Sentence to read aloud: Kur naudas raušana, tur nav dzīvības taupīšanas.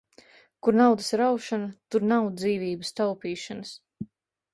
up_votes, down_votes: 2, 0